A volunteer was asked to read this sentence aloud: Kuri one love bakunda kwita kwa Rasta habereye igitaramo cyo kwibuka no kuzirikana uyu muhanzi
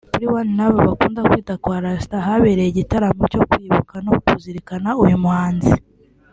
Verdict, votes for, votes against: accepted, 2, 1